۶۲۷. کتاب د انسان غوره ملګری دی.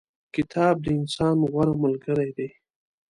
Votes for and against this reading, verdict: 0, 2, rejected